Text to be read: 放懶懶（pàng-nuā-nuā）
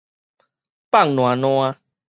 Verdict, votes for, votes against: accepted, 4, 0